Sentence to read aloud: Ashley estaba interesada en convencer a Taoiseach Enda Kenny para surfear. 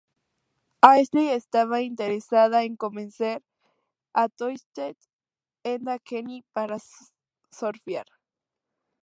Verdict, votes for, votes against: rejected, 0, 2